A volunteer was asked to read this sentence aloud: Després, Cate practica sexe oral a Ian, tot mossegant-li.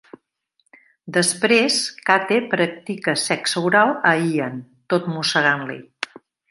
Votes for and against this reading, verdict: 2, 0, accepted